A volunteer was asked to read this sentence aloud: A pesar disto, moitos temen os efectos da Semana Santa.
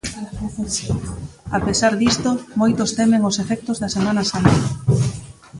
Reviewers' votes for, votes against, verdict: 0, 2, rejected